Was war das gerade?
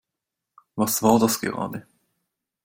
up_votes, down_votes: 2, 0